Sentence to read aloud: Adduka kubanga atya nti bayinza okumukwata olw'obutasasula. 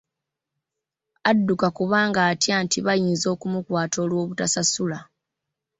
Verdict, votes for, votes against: accepted, 2, 1